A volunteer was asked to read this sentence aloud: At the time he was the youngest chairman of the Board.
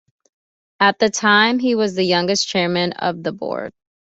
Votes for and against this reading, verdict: 2, 0, accepted